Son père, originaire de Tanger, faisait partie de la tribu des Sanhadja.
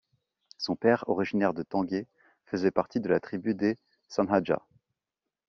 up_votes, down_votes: 0, 2